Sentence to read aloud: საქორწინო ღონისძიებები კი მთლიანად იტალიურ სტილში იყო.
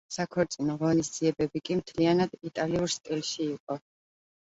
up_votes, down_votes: 2, 0